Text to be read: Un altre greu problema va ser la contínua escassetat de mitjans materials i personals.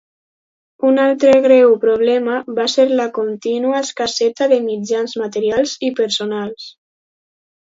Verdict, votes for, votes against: rejected, 0, 2